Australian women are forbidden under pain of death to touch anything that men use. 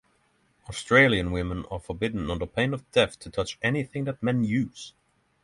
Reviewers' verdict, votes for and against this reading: accepted, 6, 0